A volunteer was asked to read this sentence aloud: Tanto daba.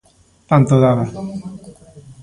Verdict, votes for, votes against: rejected, 0, 2